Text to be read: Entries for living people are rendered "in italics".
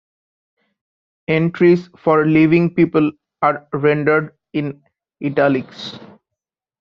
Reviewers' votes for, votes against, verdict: 1, 2, rejected